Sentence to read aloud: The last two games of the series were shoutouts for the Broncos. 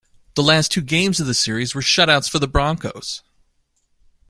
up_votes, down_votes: 2, 0